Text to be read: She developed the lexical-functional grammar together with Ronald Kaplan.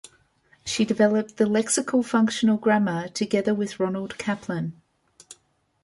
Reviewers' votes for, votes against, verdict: 2, 0, accepted